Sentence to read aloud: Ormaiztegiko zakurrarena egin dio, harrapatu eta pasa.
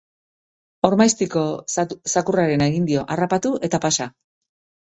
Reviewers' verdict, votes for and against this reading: rejected, 1, 2